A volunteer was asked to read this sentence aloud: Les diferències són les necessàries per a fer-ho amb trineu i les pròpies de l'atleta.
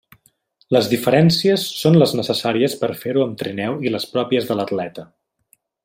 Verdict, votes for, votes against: accepted, 2, 1